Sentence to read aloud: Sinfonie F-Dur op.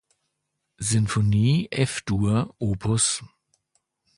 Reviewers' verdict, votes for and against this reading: rejected, 1, 2